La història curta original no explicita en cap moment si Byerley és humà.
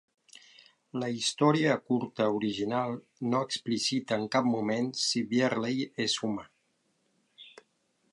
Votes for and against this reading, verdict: 2, 1, accepted